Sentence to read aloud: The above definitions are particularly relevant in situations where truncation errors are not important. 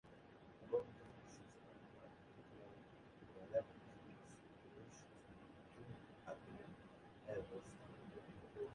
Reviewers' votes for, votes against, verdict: 1, 2, rejected